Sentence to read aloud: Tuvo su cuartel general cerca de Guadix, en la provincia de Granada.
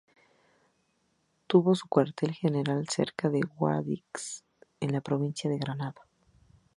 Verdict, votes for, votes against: accepted, 2, 0